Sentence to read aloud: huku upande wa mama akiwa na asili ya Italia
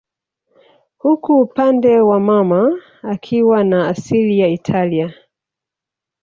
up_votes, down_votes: 3, 1